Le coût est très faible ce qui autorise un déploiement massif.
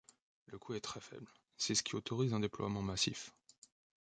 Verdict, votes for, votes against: rejected, 0, 2